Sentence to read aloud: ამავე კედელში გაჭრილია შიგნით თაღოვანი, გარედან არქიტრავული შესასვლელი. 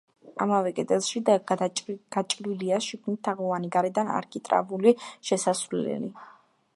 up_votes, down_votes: 0, 2